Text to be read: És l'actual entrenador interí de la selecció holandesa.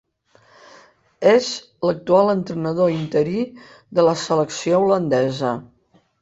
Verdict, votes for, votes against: accepted, 3, 0